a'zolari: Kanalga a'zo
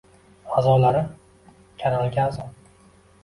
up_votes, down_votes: 2, 0